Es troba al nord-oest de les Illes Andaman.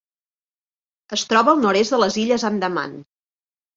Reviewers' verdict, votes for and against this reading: rejected, 0, 2